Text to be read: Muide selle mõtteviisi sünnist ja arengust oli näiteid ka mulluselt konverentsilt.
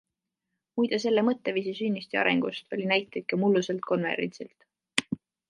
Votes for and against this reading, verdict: 2, 0, accepted